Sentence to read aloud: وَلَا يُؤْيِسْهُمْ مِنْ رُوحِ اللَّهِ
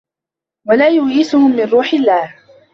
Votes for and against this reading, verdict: 3, 1, accepted